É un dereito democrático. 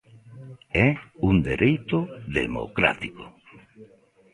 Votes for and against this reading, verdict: 1, 2, rejected